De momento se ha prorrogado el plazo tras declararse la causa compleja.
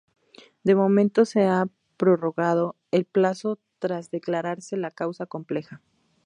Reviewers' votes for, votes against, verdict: 0, 2, rejected